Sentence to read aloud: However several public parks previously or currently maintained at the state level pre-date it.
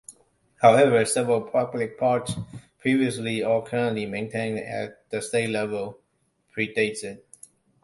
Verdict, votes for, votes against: accepted, 2, 0